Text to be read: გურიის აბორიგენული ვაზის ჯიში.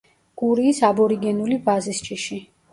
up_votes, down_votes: 1, 2